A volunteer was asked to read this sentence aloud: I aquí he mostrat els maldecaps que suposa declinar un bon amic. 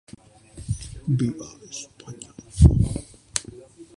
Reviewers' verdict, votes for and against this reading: rejected, 0, 2